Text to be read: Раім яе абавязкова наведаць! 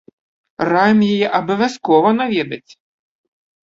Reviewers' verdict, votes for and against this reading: accepted, 2, 0